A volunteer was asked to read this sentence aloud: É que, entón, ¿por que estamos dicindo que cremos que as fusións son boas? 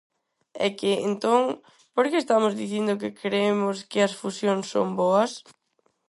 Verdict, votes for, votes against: rejected, 2, 2